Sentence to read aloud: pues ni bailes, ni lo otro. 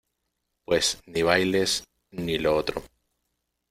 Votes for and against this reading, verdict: 2, 0, accepted